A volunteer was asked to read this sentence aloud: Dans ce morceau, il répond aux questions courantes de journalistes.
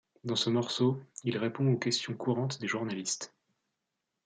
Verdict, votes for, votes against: rejected, 1, 2